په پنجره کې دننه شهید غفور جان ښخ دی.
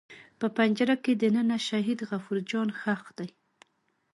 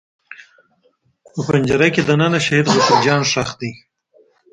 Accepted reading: first